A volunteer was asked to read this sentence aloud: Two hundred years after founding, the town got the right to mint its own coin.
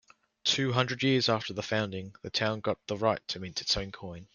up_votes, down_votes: 2, 1